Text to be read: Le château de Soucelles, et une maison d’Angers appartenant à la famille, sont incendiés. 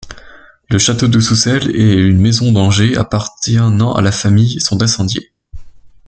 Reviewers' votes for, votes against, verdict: 1, 2, rejected